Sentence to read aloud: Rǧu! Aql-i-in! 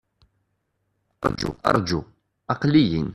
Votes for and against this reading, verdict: 0, 2, rejected